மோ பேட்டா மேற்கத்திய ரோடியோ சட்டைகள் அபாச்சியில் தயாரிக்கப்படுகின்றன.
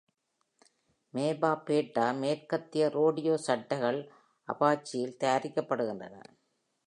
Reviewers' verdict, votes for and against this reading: rejected, 0, 2